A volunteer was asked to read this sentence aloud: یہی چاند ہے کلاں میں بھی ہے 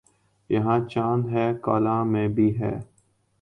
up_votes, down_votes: 1, 2